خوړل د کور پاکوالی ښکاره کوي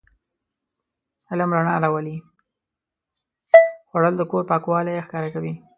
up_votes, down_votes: 1, 2